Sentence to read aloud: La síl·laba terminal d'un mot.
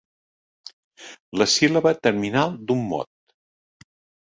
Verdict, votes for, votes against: accepted, 3, 0